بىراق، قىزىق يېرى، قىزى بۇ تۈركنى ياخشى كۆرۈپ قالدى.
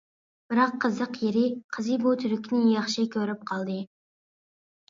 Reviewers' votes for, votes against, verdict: 2, 0, accepted